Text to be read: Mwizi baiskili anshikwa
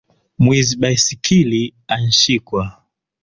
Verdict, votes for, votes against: accepted, 2, 1